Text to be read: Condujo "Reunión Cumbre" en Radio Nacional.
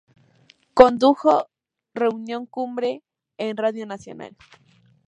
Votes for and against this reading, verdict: 2, 0, accepted